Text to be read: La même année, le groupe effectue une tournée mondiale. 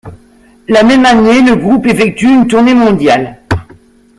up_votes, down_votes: 3, 0